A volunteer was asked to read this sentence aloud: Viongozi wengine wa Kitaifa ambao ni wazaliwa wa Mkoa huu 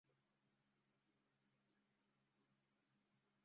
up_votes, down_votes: 0, 2